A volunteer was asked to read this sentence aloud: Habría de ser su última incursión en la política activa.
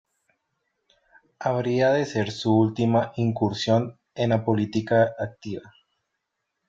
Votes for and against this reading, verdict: 2, 0, accepted